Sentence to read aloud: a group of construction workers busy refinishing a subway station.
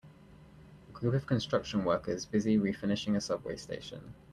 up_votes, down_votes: 2, 0